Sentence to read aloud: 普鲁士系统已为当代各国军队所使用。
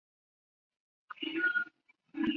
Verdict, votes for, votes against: rejected, 0, 2